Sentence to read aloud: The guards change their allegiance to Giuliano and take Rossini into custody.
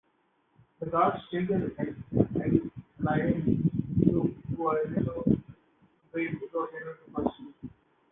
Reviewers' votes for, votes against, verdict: 1, 2, rejected